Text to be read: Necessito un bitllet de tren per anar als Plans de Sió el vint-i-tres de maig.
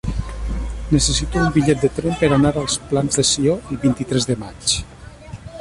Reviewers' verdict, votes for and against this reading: rejected, 0, 2